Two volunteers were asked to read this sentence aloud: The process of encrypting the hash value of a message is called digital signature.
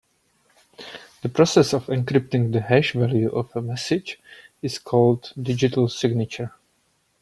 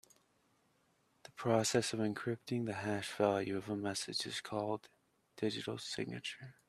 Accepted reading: first